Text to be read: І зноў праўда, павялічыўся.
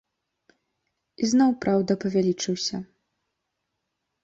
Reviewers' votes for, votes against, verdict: 1, 2, rejected